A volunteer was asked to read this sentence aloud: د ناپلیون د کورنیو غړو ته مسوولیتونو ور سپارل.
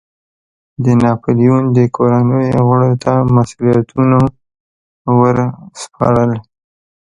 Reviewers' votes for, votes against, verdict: 2, 1, accepted